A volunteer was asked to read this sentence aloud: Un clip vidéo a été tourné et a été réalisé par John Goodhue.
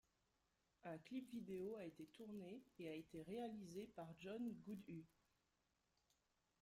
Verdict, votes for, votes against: rejected, 2, 3